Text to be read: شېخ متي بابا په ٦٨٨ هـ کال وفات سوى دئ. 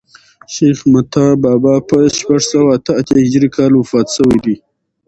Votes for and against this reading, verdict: 0, 2, rejected